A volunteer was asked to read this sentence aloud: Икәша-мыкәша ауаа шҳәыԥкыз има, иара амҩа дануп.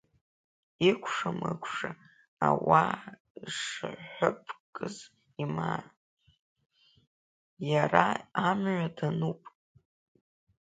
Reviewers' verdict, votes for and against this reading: rejected, 0, 2